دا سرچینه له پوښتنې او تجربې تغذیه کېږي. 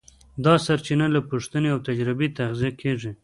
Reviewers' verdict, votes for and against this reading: rejected, 0, 2